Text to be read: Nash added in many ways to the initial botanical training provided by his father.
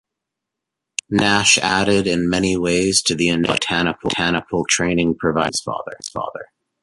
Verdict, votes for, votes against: rejected, 0, 2